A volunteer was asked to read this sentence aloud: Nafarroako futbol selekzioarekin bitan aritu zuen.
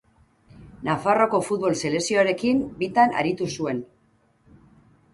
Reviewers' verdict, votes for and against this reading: accepted, 2, 0